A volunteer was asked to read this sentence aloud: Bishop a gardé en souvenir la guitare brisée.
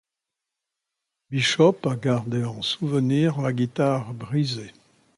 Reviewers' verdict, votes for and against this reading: accepted, 2, 0